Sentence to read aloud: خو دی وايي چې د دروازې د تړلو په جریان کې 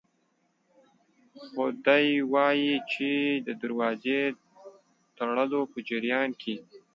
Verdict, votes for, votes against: accepted, 2, 0